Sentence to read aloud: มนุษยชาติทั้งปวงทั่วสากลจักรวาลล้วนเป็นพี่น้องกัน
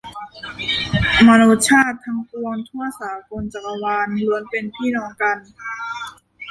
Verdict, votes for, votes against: rejected, 0, 2